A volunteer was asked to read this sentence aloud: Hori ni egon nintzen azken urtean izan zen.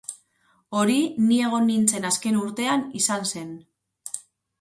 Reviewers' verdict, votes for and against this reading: accepted, 8, 0